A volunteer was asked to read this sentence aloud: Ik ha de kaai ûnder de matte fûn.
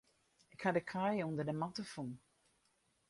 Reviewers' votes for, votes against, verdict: 2, 2, rejected